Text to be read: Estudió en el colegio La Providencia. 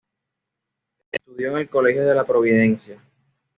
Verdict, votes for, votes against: accepted, 2, 0